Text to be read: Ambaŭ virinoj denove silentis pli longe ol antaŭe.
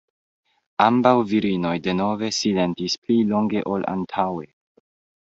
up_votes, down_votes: 2, 1